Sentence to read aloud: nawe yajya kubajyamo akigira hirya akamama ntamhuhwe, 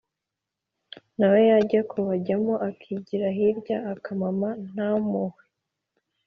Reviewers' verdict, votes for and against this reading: accepted, 2, 0